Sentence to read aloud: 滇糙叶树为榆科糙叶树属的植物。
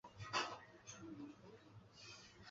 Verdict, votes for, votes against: rejected, 0, 4